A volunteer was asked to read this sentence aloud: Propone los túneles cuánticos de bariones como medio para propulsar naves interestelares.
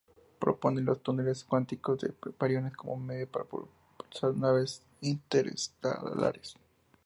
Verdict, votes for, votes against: rejected, 0, 2